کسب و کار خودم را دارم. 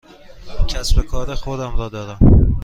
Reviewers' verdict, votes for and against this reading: accepted, 2, 0